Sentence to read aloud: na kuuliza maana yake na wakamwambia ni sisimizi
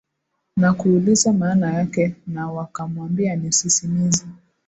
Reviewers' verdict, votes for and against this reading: accepted, 18, 1